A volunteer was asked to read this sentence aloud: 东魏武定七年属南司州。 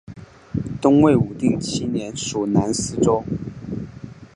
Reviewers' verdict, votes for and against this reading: accepted, 4, 1